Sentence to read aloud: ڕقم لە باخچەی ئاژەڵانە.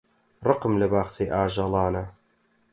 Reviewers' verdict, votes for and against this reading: accepted, 8, 0